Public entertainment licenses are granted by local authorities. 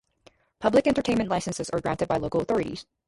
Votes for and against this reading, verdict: 0, 2, rejected